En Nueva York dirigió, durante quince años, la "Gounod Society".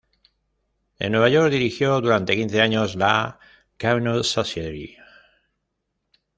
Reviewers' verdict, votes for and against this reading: rejected, 1, 2